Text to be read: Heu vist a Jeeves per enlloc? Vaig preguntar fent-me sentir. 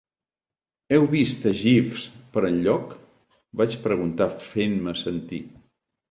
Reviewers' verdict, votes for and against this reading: accepted, 2, 0